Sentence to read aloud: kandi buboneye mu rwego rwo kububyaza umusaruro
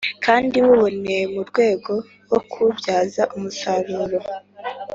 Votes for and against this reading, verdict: 2, 1, accepted